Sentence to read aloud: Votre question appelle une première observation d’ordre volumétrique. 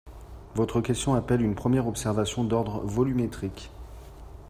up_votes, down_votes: 2, 0